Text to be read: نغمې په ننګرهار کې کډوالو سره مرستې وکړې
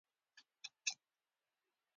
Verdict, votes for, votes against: rejected, 0, 2